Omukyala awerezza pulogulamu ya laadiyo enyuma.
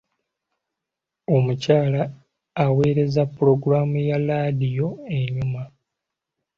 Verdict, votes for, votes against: accepted, 2, 0